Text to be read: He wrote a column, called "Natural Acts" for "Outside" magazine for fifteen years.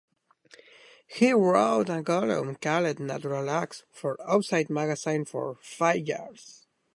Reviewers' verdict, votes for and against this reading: rejected, 1, 2